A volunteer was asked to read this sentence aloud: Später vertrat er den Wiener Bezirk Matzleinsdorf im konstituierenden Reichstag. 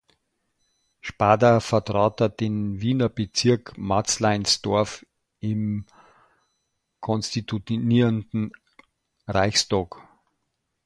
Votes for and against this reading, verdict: 0, 2, rejected